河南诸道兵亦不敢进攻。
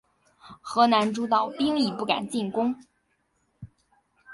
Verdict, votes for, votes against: accepted, 6, 2